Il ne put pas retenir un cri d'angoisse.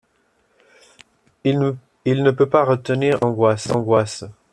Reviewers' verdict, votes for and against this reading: rejected, 0, 2